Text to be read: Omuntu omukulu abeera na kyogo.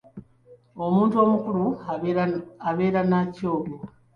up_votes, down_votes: 2, 3